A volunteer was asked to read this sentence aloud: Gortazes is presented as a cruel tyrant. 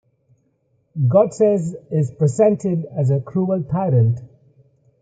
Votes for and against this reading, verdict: 0, 2, rejected